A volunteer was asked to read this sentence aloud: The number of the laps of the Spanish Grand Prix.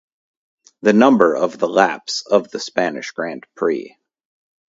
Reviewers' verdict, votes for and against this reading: rejected, 0, 2